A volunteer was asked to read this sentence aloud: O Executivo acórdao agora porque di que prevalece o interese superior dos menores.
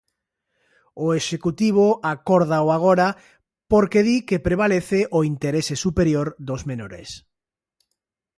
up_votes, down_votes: 2, 0